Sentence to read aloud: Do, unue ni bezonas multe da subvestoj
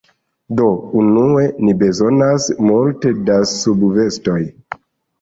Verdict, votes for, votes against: accepted, 2, 0